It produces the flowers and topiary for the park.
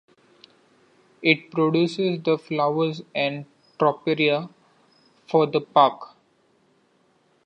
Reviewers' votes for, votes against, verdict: 2, 1, accepted